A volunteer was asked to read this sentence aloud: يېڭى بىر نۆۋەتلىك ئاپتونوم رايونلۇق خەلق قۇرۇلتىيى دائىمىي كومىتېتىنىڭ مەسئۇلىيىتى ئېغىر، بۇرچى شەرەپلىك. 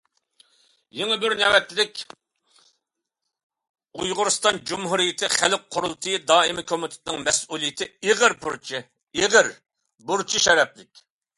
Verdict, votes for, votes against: rejected, 0, 2